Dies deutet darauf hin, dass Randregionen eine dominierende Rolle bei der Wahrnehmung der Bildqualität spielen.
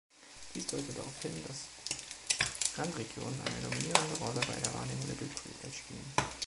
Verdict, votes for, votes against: rejected, 0, 2